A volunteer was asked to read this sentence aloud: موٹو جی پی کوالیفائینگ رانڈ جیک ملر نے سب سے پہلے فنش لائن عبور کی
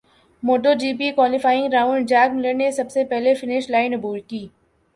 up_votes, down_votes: 4, 1